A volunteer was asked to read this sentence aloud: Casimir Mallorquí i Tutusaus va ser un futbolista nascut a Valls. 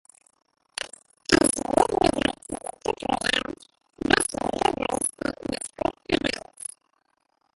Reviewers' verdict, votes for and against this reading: rejected, 1, 2